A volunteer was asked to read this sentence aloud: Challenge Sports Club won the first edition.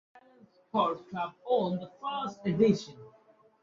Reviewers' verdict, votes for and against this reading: rejected, 0, 2